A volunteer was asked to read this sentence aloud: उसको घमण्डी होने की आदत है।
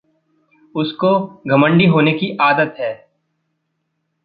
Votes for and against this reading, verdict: 2, 0, accepted